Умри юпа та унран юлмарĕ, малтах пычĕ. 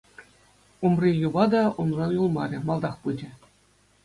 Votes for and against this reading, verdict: 2, 0, accepted